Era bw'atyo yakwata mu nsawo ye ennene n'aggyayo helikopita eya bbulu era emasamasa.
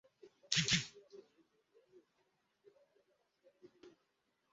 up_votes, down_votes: 0, 2